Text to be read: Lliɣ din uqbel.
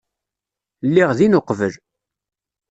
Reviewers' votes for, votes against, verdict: 2, 0, accepted